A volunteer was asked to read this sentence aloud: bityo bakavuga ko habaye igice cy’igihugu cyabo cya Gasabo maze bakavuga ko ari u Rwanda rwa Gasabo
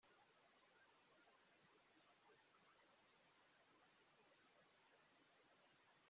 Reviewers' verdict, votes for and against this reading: rejected, 0, 2